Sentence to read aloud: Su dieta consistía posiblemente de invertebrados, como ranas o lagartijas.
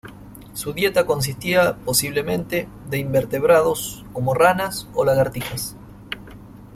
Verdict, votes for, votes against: accepted, 2, 1